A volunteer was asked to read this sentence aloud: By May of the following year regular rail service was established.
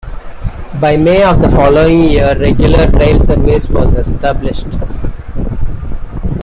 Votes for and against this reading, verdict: 2, 0, accepted